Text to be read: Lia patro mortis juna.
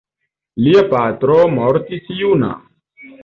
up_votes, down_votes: 2, 0